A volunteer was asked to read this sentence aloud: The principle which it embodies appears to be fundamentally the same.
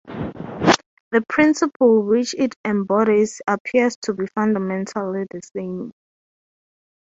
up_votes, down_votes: 3, 0